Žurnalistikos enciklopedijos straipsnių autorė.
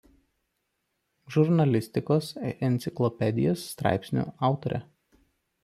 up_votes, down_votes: 1, 2